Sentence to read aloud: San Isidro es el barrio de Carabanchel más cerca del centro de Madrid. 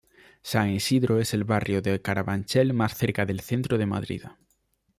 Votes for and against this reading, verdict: 1, 2, rejected